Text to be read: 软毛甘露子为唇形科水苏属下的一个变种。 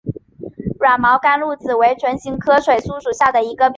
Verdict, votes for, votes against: rejected, 0, 2